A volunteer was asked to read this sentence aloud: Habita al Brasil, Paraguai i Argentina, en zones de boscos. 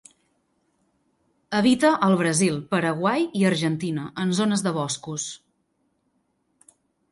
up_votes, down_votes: 2, 0